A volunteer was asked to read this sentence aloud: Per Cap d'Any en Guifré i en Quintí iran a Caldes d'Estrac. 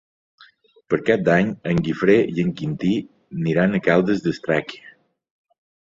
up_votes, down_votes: 0, 2